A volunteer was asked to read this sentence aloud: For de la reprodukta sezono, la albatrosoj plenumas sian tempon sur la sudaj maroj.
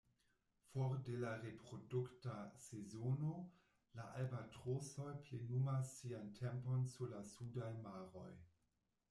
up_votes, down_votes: 1, 2